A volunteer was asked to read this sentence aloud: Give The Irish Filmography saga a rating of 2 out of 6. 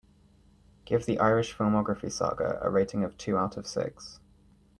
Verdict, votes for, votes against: rejected, 0, 2